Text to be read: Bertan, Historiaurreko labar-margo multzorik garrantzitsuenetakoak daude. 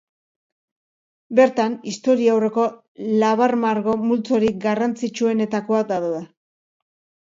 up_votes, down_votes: 1, 2